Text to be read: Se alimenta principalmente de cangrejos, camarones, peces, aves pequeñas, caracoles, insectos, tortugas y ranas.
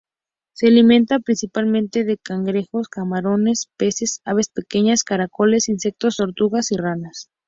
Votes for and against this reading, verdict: 2, 0, accepted